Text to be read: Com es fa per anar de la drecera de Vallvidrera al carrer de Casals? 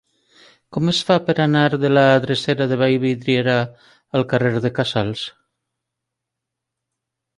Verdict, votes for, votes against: rejected, 1, 2